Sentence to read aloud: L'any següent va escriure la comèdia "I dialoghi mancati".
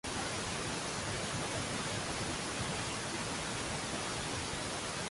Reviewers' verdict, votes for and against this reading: rejected, 0, 2